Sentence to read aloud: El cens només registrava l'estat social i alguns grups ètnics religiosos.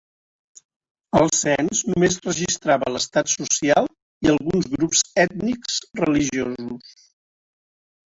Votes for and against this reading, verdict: 2, 0, accepted